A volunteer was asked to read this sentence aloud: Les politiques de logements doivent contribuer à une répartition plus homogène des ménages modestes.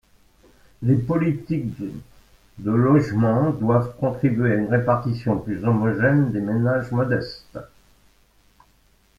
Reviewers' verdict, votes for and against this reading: rejected, 1, 2